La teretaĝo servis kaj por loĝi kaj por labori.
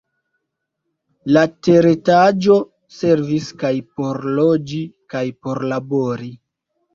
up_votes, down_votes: 2, 0